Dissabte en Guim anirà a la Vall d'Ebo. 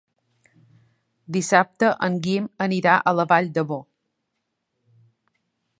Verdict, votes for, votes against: rejected, 0, 2